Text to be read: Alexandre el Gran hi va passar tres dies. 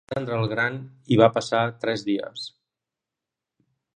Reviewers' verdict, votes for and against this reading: rejected, 1, 3